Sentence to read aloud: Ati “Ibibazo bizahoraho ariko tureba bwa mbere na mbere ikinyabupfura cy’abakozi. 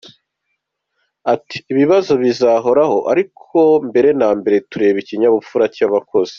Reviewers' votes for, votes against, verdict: 2, 1, accepted